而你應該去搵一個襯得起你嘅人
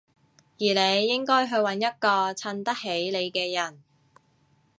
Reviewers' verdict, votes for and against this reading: accepted, 3, 0